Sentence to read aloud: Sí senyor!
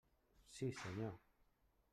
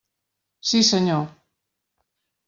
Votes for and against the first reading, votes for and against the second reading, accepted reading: 1, 2, 3, 0, second